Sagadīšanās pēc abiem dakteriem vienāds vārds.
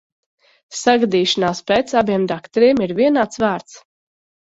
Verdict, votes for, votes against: rejected, 0, 3